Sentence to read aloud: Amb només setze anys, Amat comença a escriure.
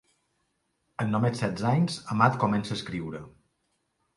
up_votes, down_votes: 2, 0